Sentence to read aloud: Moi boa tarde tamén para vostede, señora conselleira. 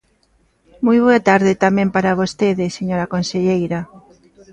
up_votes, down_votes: 1, 2